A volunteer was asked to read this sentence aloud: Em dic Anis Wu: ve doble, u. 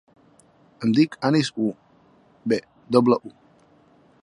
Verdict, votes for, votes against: rejected, 1, 2